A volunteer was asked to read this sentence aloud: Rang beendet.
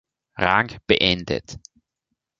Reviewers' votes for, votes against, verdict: 0, 2, rejected